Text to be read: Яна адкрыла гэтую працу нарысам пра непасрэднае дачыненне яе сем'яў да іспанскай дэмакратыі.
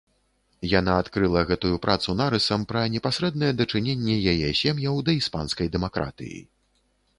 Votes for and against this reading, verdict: 2, 0, accepted